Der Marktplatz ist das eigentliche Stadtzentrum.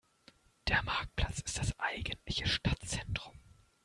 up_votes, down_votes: 2, 1